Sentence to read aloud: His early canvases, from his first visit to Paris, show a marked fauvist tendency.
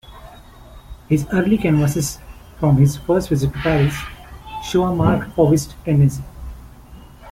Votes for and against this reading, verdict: 1, 2, rejected